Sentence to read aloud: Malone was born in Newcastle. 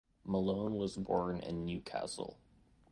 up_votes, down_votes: 2, 0